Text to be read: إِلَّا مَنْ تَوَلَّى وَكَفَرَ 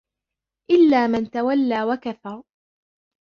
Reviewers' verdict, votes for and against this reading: accepted, 4, 1